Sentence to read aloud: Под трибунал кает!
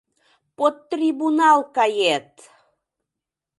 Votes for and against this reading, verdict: 2, 0, accepted